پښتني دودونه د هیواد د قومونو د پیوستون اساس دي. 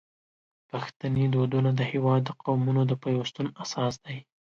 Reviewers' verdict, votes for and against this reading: accepted, 4, 0